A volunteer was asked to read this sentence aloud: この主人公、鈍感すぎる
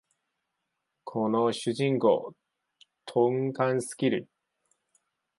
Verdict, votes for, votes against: rejected, 1, 2